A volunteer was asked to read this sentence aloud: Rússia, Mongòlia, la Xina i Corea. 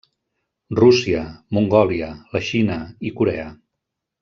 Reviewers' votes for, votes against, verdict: 0, 2, rejected